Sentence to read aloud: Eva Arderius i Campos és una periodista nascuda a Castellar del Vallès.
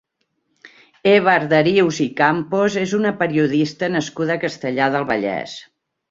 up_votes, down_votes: 2, 0